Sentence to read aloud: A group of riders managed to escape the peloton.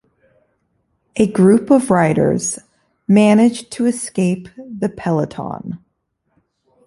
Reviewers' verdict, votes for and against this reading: accepted, 2, 0